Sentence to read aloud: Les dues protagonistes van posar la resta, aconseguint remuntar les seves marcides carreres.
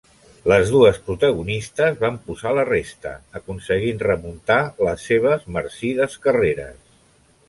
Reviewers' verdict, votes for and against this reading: rejected, 0, 2